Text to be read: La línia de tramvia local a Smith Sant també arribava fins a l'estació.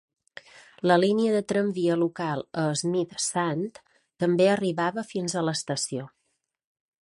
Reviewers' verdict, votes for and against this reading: accepted, 3, 0